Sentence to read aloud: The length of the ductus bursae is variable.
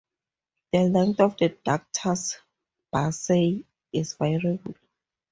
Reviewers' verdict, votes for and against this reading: accepted, 2, 0